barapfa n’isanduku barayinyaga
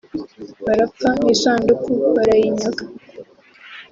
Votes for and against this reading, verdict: 2, 1, accepted